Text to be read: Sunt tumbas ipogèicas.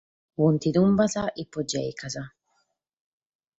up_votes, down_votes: 4, 0